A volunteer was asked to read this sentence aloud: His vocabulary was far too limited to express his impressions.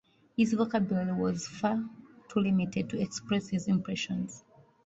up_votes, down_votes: 2, 1